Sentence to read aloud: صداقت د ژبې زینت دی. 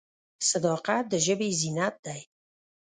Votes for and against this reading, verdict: 1, 2, rejected